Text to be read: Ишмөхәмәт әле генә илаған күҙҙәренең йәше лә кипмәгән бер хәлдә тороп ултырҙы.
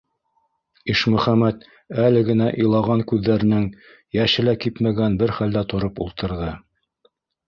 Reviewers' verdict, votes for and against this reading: accepted, 2, 0